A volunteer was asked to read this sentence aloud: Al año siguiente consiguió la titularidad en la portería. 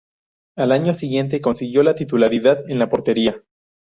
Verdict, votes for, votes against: accepted, 4, 0